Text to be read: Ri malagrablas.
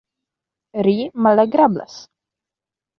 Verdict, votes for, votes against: accepted, 2, 0